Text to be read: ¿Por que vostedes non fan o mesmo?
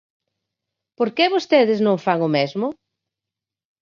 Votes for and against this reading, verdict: 4, 0, accepted